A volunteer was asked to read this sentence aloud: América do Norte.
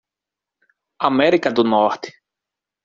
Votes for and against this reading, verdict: 2, 0, accepted